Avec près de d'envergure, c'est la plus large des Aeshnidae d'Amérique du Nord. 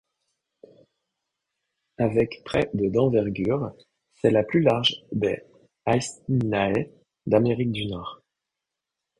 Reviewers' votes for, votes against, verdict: 1, 2, rejected